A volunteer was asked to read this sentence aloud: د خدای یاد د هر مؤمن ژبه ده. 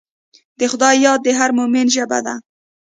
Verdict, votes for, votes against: accepted, 2, 0